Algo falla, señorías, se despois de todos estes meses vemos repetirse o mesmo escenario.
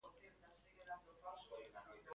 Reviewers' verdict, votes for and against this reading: rejected, 0, 2